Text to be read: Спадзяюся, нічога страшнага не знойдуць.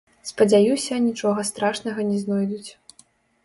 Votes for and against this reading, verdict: 0, 2, rejected